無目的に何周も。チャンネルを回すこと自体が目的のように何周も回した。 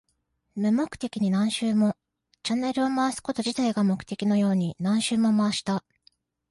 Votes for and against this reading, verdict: 2, 0, accepted